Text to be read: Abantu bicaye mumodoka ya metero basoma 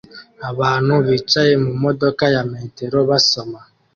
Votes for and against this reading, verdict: 2, 0, accepted